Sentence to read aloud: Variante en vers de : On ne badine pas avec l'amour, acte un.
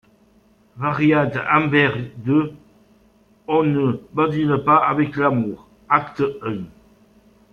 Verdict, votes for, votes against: accepted, 2, 0